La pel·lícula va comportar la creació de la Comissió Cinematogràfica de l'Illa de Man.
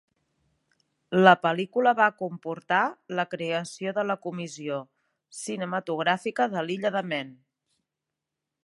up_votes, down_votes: 4, 1